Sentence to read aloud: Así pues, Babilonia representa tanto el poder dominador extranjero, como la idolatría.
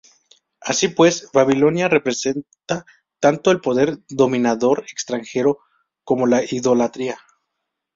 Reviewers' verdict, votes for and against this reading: accepted, 2, 0